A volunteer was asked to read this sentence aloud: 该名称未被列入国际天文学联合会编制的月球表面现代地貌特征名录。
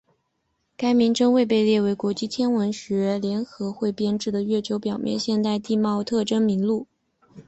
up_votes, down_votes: 2, 1